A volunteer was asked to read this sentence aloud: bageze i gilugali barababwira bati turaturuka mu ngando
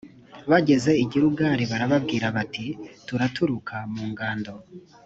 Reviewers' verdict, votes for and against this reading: accepted, 2, 0